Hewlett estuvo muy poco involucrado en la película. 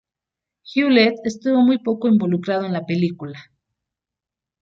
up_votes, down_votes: 2, 0